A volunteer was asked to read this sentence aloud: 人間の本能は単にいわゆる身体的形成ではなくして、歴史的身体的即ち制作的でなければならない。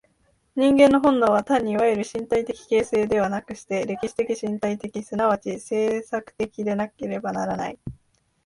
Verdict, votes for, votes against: accepted, 2, 0